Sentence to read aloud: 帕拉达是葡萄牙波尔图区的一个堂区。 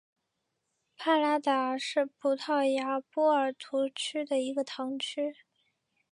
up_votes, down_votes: 2, 0